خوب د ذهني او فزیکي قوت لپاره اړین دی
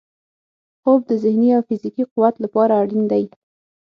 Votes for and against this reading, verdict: 3, 6, rejected